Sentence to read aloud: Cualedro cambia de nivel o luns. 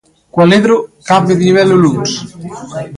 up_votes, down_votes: 1, 2